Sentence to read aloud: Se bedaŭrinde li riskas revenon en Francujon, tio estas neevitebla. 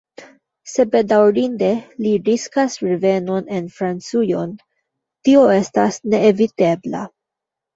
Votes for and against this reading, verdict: 1, 2, rejected